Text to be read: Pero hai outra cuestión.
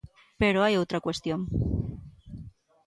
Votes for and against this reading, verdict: 2, 0, accepted